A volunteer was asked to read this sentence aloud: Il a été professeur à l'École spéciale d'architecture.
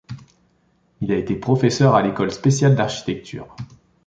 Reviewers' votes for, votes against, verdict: 2, 0, accepted